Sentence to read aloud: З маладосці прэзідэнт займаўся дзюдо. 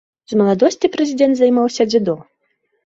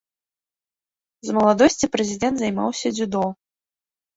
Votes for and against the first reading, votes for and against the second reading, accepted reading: 0, 2, 2, 0, second